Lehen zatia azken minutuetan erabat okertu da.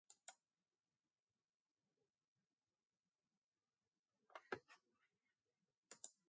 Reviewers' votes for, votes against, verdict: 0, 2, rejected